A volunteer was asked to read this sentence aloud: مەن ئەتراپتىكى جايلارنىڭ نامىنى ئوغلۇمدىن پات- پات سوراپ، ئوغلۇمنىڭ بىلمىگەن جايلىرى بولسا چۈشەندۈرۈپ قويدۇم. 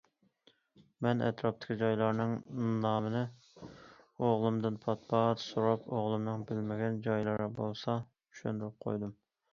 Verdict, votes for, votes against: accepted, 2, 0